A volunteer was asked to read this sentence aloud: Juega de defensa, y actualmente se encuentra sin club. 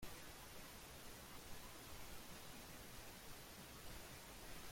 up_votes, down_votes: 0, 2